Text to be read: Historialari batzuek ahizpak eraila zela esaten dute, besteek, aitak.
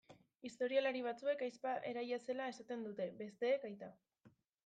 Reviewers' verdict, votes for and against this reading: rejected, 1, 2